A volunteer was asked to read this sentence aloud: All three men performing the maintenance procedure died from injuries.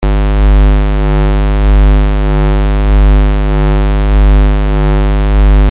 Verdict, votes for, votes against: rejected, 0, 2